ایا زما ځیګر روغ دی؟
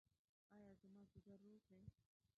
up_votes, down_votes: 0, 2